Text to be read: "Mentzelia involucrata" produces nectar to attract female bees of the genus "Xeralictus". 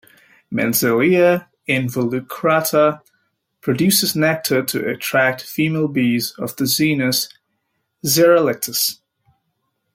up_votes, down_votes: 1, 2